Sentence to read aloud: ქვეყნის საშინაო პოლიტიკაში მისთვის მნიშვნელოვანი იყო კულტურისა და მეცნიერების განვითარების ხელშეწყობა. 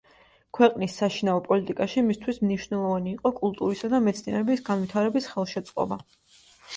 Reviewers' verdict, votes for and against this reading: accepted, 2, 0